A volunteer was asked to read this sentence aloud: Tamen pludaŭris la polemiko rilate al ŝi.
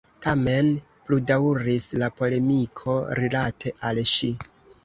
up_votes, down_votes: 2, 0